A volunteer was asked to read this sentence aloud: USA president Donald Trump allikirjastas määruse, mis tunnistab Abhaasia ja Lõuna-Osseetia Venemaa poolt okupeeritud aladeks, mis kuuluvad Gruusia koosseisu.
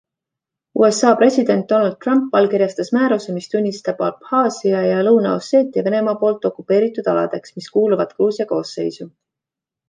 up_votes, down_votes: 2, 0